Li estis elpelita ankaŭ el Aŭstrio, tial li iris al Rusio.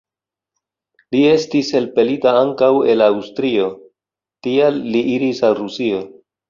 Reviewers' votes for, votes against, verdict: 2, 0, accepted